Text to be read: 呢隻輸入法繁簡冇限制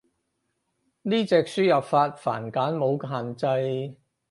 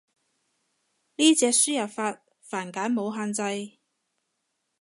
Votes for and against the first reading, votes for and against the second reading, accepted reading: 2, 4, 2, 0, second